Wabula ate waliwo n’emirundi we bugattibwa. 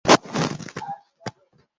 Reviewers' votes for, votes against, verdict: 0, 3, rejected